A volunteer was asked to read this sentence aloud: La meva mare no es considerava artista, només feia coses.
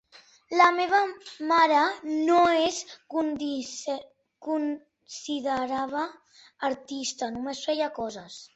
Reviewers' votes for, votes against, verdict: 1, 2, rejected